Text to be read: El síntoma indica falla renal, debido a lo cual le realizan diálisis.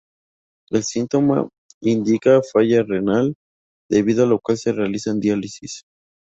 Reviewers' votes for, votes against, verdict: 0, 2, rejected